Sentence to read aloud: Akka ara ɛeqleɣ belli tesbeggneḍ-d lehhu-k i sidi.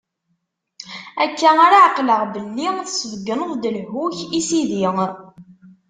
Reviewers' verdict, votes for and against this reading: accepted, 2, 0